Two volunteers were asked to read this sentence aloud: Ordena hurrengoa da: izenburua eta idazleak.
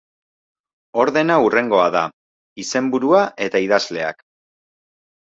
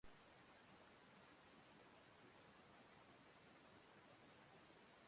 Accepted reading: first